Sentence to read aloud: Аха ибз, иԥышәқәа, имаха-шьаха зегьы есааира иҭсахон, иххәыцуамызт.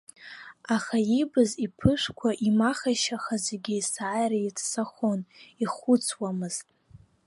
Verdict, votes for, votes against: rejected, 0, 2